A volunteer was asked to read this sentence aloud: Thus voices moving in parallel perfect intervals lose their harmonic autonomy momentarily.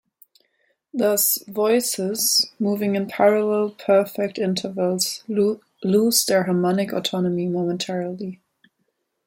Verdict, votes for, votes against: accepted, 2, 0